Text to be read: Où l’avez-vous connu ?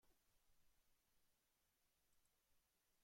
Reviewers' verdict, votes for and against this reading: rejected, 0, 2